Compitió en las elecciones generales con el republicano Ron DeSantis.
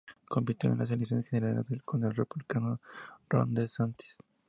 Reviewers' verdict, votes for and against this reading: accepted, 4, 0